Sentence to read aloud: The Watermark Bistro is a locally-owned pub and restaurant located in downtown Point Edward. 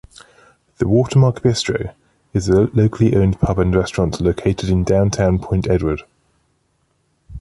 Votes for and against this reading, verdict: 2, 0, accepted